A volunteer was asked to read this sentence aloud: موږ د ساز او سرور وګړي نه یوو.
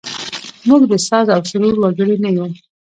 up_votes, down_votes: 0, 2